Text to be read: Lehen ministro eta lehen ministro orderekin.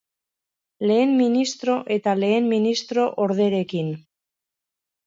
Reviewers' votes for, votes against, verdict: 2, 0, accepted